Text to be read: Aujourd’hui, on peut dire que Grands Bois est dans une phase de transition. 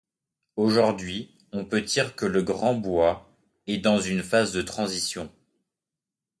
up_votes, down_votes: 0, 2